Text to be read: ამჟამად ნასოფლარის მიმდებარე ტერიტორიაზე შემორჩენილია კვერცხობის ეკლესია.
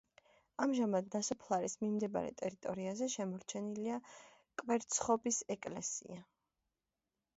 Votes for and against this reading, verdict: 1, 2, rejected